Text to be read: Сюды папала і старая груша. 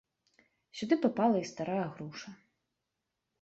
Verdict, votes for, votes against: accepted, 2, 0